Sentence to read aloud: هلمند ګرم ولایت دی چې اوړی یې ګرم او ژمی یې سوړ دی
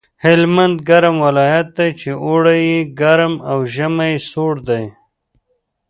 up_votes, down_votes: 2, 0